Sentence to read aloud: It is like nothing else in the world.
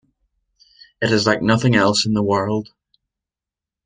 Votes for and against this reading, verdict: 2, 0, accepted